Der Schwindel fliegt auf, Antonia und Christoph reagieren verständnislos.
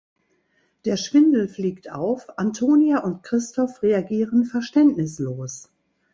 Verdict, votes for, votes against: accepted, 2, 0